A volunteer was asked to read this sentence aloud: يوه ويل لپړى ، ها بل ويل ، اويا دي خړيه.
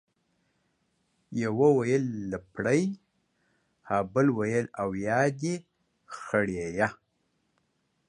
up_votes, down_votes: 1, 2